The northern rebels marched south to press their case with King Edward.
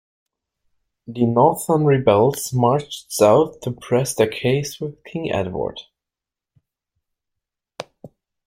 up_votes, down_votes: 2, 3